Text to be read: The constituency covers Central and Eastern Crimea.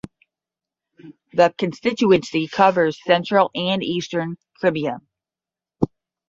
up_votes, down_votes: 0, 10